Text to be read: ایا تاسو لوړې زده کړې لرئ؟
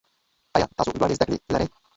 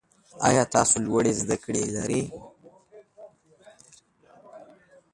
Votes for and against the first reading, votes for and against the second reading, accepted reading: 0, 2, 2, 1, second